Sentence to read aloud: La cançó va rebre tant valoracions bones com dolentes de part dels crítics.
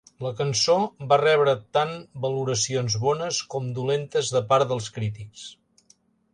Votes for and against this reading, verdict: 3, 0, accepted